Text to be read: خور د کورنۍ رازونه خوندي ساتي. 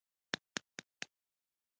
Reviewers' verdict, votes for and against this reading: rejected, 1, 2